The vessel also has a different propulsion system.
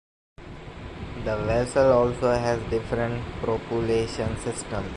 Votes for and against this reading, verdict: 0, 2, rejected